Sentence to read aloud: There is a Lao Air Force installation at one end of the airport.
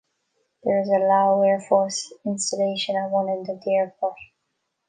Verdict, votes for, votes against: rejected, 1, 2